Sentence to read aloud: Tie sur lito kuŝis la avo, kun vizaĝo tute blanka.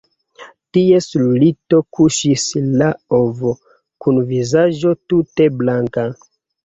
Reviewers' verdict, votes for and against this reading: rejected, 1, 3